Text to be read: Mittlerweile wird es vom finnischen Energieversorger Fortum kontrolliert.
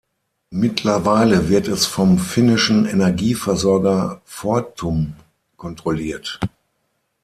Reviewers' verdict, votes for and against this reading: rejected, 3, 6